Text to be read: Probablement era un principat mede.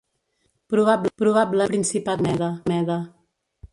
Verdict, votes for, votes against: rejected, 0, 2